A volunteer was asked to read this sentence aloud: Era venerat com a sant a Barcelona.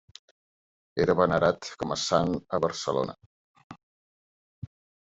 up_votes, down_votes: 3, 0